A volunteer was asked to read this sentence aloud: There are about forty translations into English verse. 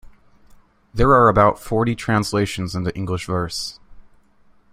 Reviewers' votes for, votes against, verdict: 2, 0, accepted